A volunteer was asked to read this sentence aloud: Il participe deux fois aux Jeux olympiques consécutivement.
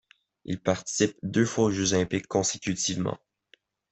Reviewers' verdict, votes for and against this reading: accepted, 2, 0